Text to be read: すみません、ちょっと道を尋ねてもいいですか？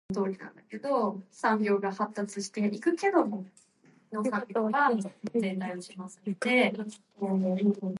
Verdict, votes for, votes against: rejected, 0, 2